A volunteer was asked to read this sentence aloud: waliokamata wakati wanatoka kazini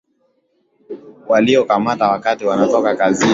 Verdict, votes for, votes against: accepted, 2, 1